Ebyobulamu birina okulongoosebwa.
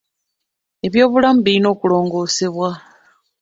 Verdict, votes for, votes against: accepted, 2, 0